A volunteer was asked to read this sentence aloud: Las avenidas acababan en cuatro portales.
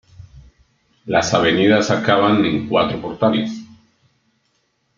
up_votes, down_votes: 2, 0